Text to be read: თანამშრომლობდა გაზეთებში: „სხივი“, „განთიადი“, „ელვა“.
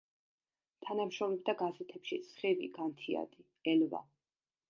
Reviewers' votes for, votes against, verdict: 2, 0, accepted